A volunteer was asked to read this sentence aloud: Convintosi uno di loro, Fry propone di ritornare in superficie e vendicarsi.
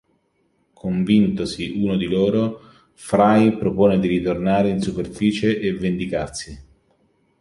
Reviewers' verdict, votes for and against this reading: accepted, 2, 0